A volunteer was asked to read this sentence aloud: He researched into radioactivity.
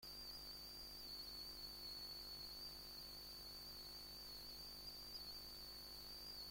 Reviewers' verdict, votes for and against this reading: rejected, 0, 2